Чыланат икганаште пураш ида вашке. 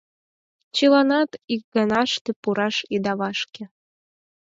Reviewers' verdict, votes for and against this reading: accepted, 6, 0